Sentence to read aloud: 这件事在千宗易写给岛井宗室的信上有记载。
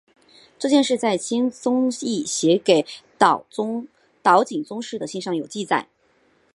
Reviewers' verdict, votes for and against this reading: rejected, 1, 2